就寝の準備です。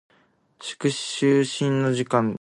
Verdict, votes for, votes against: accepted, 2, 1